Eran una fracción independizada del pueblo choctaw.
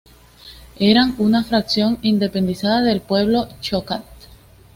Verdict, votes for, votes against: accepted, 2, 0